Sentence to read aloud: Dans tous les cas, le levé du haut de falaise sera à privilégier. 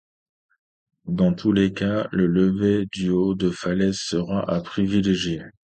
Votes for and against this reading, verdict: 2, 0, accepted